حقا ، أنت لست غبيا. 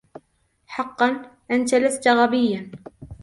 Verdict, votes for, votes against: accepted, 2, 0